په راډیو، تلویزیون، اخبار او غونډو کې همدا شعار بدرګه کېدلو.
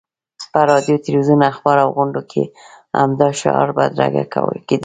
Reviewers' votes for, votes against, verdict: 0, 2, rejected